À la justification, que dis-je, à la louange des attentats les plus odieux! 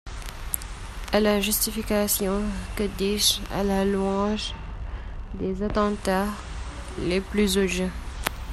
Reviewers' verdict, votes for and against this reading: rejected, 1, 2